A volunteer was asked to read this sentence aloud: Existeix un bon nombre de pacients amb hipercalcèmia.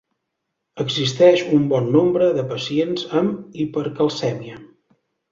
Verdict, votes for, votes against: accepted, 2, 0